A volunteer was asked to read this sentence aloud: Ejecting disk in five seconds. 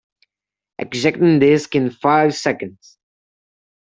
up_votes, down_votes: 0, 2